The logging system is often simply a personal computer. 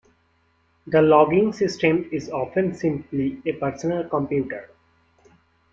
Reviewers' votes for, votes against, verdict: 2, 0, accepted